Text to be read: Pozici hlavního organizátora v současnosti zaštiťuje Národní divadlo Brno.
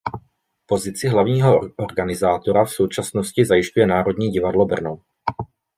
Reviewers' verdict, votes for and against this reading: rejected, 1, 2